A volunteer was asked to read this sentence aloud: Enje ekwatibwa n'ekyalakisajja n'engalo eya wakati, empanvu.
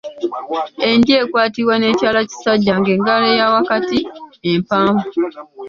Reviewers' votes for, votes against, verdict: 1, 2, rejected